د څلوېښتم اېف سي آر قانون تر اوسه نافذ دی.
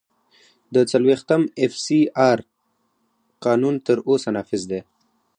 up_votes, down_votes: 2, 0